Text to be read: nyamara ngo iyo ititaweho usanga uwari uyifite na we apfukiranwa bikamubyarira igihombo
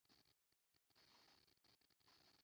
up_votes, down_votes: 0, 2